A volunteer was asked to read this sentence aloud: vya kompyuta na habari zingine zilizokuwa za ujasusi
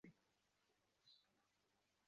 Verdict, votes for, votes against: rejected, 1, 2